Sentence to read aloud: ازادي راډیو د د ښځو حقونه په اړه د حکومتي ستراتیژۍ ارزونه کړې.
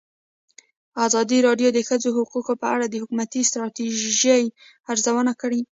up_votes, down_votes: 2, 0